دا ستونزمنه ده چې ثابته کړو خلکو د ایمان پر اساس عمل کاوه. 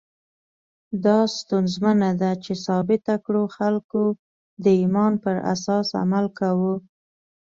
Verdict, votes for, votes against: accepted, 2, 0